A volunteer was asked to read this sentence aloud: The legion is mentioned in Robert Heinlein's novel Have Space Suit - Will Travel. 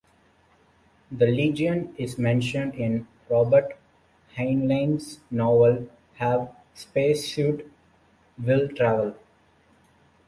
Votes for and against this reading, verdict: 2, 0, accepted